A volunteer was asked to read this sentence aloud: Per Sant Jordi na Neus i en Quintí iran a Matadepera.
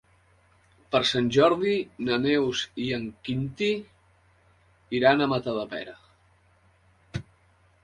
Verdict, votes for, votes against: accepted, 3, 0